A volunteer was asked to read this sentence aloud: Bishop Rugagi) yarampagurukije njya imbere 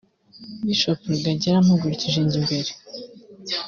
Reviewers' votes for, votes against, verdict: 1, 3, rejected